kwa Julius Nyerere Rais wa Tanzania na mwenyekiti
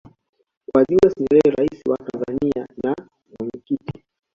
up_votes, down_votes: 1, 2